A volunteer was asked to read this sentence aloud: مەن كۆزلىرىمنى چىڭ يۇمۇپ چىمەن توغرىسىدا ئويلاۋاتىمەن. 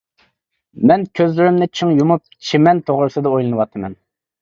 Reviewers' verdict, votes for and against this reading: rejected, 0, 2